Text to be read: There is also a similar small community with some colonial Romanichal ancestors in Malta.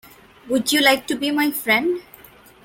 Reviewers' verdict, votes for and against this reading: rejected, 0, 2